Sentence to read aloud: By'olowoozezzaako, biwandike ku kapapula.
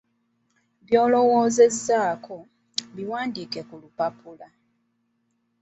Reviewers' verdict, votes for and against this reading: rejected, 0, 2